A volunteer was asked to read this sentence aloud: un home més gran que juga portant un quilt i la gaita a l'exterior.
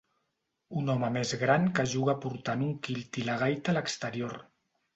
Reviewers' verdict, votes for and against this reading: accepted, 2, 0